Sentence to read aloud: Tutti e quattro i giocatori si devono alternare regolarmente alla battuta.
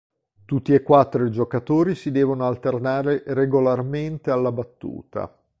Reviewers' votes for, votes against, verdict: 2, 0, accepted